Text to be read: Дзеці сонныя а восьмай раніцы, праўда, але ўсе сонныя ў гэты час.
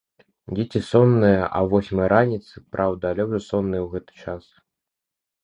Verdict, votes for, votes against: rejected, 1, 2